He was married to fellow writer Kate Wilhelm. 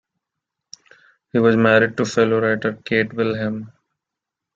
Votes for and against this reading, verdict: 2, 0, accepted